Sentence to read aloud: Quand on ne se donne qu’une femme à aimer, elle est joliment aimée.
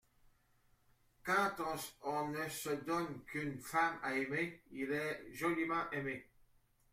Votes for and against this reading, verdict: 0, 2, rejected